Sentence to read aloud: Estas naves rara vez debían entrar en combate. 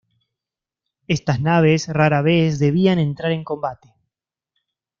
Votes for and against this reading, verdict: 2, 0, accepted